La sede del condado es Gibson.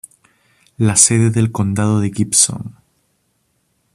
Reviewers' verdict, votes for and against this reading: rejected, 1, 2